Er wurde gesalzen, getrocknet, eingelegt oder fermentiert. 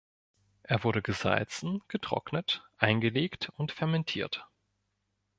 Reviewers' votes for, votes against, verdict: 0, 2, rejected